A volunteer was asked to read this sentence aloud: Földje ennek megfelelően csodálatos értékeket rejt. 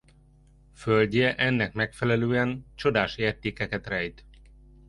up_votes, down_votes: 1, 2